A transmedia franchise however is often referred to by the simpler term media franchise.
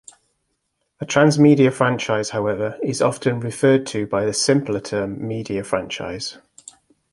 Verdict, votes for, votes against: accepted, 2, 0